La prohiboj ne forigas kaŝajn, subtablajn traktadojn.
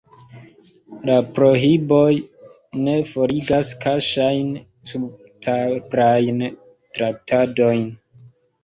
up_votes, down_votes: 0, 2